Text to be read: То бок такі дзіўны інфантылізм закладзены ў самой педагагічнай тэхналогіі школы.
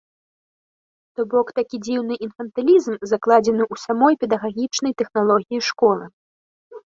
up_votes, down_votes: 2, 0